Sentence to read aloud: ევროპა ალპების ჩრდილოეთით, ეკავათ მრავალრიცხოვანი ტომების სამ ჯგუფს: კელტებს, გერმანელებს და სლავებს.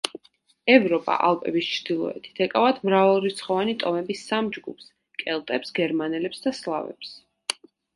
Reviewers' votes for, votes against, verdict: 2, 0, accepted